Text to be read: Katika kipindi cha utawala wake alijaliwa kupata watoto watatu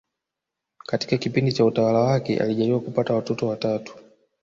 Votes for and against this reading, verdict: 2, 0, accepted